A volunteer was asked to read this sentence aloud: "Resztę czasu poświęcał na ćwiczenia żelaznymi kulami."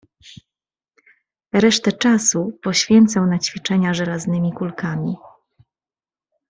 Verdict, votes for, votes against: rejected, 1, 2